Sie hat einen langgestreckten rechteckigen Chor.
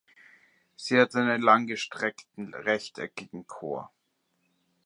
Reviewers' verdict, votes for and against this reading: accepted, 2, 0